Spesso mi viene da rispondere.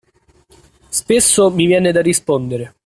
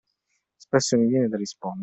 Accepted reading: first